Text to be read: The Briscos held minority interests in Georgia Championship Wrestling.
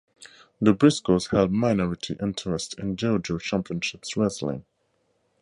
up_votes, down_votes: 2, 4